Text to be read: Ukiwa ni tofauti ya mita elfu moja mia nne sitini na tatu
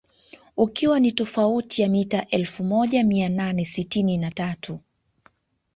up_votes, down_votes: 0, 2